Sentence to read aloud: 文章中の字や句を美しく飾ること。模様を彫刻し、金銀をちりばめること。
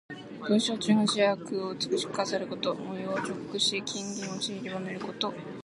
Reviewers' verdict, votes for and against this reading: rejected, 1, 2